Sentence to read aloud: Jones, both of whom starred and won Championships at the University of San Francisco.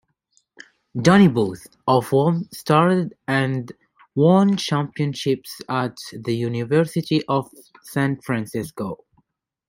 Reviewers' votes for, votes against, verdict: 0, 2, rejected